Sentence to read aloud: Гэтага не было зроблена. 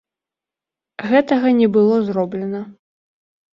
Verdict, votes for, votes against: accepted, 2, 0